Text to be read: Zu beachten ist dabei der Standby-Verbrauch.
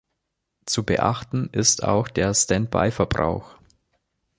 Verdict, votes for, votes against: rejected, 0, 2